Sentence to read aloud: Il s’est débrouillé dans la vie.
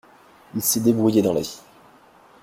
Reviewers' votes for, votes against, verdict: 2, 0, accepted